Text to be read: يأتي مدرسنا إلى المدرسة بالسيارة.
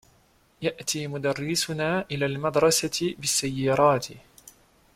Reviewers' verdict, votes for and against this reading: rejected, 0, 2